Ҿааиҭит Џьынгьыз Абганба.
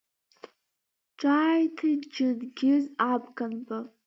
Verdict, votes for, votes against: rejected, 1, 2